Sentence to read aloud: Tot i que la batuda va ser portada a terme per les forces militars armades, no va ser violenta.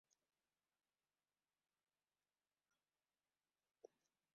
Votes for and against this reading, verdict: 0, 2, rejected